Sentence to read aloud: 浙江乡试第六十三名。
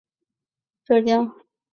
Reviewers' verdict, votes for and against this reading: rejected, 0, 3